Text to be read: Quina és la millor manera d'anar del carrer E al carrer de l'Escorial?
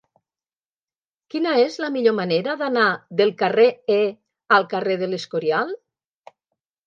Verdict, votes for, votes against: accepted, 3, 0